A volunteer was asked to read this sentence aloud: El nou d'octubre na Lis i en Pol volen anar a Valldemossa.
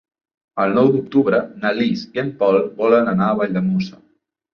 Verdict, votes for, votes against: rejected, 1, 2